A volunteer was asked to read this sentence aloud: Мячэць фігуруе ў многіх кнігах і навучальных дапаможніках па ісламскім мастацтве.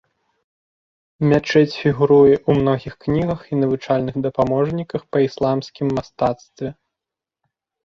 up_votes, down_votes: 2, 0